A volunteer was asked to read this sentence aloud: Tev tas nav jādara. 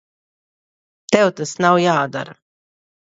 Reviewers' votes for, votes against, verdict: 2, 0, accepted